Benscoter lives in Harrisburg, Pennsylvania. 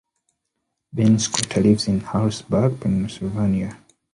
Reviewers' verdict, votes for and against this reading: accepted, 2, 0